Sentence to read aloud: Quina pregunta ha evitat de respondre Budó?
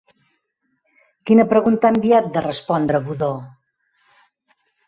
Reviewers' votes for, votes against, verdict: 1, 2, rejected